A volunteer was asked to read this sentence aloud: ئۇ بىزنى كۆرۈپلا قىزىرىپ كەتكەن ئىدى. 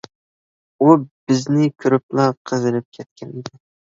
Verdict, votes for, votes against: rejected, 1, 2